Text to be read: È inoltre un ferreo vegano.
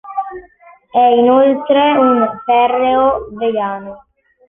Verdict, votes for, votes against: accepted, 2, 0